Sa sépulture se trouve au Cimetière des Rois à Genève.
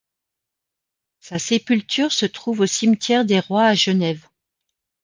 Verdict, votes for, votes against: accepted, 2, 0